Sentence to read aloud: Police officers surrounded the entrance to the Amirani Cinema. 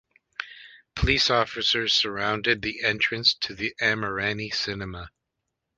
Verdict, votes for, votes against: accepted, 2, 0